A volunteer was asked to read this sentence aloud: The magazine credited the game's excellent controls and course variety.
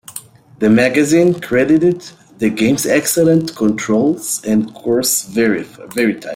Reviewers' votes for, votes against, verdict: 0, 2, rejected